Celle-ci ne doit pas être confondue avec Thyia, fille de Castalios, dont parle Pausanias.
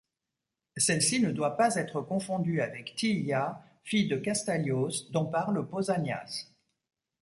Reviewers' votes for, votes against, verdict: 2, 0, accepted